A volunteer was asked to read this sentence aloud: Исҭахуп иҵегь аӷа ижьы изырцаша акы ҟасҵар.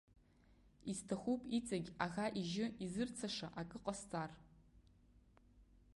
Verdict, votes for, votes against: accepted, 2, 0